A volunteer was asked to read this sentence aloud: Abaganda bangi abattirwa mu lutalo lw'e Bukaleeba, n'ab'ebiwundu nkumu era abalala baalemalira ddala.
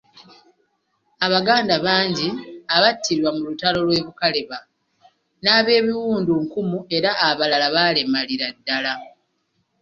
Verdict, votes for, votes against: accepted, 2, 0